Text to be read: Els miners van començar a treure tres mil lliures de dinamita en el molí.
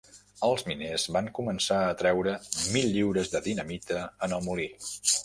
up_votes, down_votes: 1, 3